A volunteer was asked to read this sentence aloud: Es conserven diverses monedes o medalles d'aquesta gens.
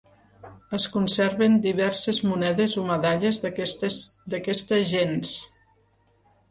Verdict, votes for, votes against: rejected, 1, 2